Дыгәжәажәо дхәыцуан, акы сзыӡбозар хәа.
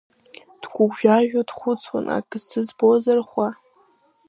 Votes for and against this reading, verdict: 0, 2, rejected